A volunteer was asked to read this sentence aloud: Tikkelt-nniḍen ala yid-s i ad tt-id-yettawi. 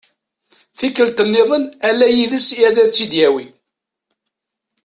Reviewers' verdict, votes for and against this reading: accepted, 2, 0